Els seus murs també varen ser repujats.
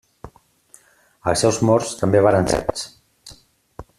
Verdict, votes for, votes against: rejected, 0, 2